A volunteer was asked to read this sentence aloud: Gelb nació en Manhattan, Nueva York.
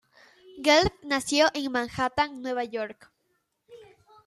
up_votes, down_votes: 2, 0